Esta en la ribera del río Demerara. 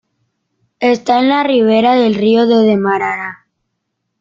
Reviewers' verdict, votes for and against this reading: rejected, 1, 2